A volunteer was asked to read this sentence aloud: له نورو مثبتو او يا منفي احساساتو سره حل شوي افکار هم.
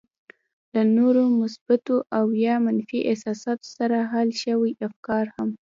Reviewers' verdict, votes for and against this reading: accepted, 2, 1